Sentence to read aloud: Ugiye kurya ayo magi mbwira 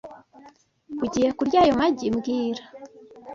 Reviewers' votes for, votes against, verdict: 2, 0, accepted